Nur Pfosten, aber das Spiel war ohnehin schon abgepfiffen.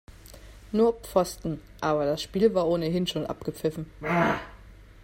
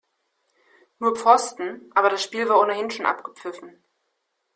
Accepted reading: second